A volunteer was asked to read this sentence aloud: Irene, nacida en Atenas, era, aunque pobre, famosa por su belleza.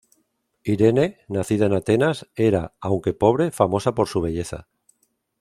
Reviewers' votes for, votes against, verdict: 2, 0, accepted